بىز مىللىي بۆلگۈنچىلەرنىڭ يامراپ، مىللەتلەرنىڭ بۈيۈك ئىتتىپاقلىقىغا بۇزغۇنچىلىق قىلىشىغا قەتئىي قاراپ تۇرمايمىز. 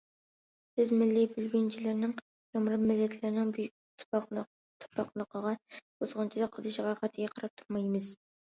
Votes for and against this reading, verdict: 0, 2, rejected